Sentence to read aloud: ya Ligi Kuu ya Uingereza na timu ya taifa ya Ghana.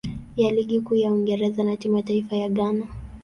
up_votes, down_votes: 0, 2